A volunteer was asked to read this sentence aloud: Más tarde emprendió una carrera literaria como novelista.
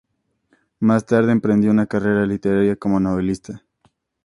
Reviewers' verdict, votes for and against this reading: accepted, 2, 0